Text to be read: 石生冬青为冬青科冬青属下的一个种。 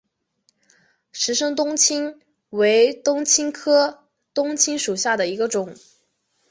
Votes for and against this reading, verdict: 3, 1, accepted